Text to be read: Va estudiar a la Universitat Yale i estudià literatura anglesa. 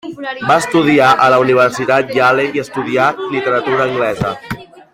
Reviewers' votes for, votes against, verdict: 2, 0, accepted